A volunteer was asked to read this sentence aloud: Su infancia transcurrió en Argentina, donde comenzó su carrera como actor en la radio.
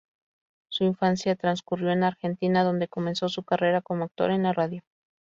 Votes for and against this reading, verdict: 4, 0, accepted